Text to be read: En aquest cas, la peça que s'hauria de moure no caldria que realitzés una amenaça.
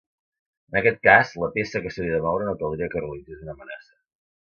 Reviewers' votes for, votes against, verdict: 1, 2, rejected